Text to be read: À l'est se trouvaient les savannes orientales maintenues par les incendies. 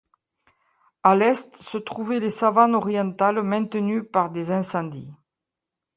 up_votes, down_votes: 1, 2